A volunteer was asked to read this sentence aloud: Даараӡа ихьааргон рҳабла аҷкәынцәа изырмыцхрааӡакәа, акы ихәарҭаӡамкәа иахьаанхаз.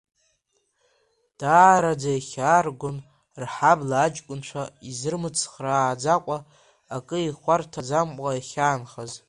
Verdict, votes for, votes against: rejected, 1, 2